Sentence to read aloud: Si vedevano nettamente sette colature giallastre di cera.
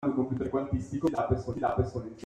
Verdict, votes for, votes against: rejected, 0, 2